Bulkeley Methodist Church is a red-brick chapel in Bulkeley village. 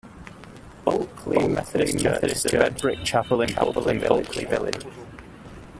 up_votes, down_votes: 0, 2